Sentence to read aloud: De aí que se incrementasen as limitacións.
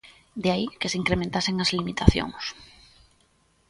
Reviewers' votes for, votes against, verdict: 2, 0, accepted